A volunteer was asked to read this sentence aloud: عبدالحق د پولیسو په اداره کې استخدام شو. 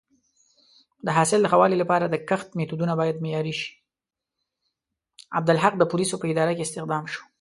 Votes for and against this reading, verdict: 0, 5, rejected